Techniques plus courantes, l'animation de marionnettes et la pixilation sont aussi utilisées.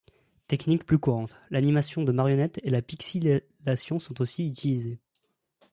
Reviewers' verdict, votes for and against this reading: rejected, 0, 2